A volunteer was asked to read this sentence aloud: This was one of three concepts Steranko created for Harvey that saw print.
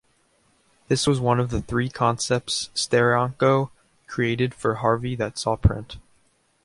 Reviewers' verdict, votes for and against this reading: accepted, 2, 0